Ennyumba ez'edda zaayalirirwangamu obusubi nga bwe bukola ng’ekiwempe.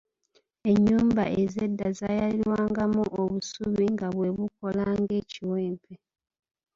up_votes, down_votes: 2, 0